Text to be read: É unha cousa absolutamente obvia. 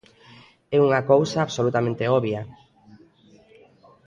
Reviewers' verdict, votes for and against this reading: accepted, 2, 0